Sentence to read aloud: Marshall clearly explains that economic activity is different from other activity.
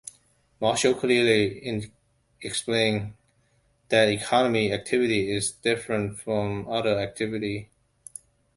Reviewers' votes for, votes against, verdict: 1, 2, rejected